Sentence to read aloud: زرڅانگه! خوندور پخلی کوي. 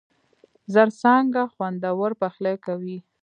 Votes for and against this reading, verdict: 2, 0, accepted